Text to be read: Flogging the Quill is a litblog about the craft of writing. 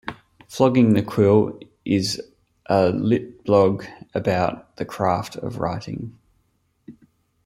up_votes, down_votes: 0, 2